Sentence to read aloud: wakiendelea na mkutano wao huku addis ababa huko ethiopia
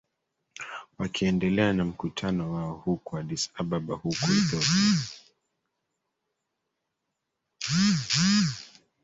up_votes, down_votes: 1, 2